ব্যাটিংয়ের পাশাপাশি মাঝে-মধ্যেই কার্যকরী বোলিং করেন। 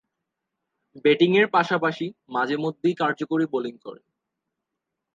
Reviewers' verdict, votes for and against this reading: accepted, 2, 0